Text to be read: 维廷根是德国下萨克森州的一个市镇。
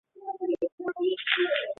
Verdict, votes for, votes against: rejected, 0, 2